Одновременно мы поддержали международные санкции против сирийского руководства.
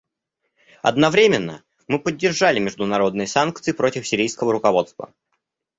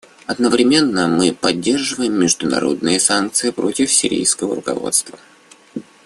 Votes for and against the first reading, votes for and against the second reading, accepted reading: 2, 0, 1, 2, first